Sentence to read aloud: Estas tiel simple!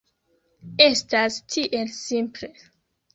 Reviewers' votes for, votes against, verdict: 3, 2, accepted